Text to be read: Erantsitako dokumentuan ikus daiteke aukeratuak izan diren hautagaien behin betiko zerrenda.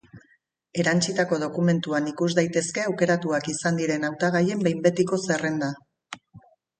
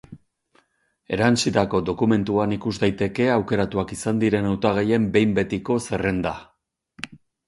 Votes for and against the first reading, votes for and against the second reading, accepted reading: 0, 6, 8, 0, second